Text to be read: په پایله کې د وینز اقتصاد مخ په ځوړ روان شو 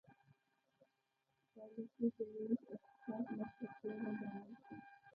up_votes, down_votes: 1, 2